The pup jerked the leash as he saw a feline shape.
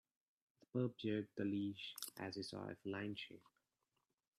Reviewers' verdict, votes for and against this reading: rejected, 1, 2